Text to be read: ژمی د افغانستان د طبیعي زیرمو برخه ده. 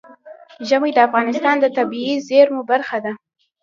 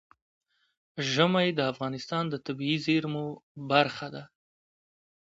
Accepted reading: second